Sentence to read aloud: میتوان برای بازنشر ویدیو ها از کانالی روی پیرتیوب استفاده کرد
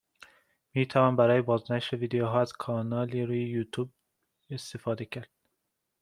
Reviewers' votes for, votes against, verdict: 0, 2, rejected